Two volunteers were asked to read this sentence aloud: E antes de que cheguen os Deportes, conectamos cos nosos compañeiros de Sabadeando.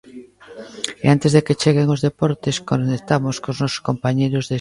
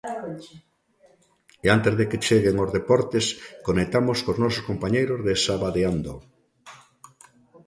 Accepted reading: second